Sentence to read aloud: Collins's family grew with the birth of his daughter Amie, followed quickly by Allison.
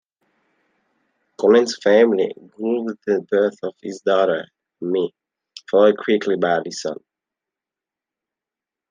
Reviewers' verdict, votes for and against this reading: rejected, 1, 2